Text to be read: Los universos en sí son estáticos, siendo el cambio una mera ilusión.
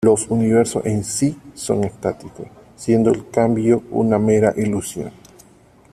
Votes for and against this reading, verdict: 2, 0, accepted